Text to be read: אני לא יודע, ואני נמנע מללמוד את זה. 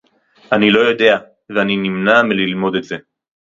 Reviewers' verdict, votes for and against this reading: rejected, 0, 2